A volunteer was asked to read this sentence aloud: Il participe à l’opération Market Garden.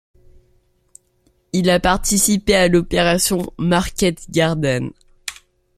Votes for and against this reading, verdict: 0, 2, rejected